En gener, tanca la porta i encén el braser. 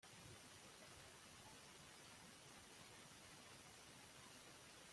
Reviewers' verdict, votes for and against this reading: rejected, 0, 2